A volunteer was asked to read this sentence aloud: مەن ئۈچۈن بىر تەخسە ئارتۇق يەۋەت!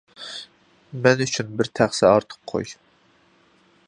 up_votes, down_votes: 0, 2